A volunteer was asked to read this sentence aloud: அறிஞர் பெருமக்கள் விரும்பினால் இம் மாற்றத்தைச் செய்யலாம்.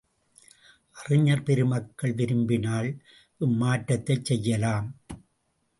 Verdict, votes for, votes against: accepted, 2, 0